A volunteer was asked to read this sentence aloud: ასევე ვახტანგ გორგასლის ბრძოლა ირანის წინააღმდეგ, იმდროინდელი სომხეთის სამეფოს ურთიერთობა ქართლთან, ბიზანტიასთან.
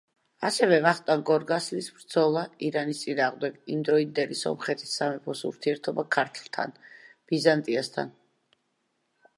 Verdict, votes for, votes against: accepted, 2, 0